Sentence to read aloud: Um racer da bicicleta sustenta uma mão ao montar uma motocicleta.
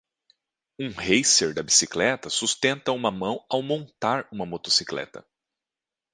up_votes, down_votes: 2, 0